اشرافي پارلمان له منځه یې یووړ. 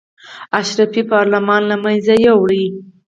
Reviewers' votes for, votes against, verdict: 4, 2, accepted